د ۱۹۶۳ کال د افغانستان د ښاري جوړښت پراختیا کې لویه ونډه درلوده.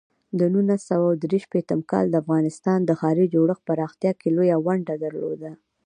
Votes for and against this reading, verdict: 0, 2, rejected